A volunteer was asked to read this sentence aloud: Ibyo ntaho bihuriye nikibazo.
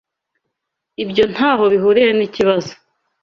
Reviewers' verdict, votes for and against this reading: accepted, 2, 0